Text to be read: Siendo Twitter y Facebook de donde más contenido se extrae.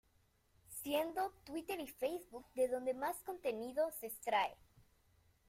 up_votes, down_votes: 2, 0